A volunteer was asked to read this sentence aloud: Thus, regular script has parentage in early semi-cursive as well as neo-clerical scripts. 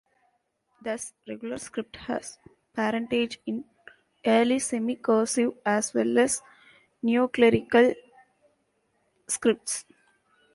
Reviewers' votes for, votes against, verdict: 1, 2, rejected